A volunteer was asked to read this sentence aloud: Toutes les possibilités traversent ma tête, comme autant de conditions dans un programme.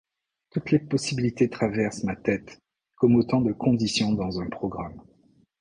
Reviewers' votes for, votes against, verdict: 2, 0, accepted